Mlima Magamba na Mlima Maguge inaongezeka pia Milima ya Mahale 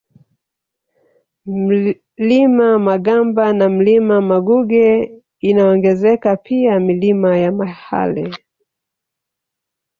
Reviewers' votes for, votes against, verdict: 0, 2, rejected